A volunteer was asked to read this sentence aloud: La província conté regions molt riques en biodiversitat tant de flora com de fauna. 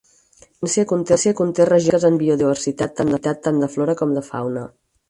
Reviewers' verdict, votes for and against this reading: rejected, 0, 4